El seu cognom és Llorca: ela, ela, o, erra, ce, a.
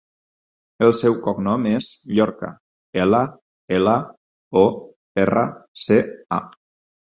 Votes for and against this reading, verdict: 2, 4, rejected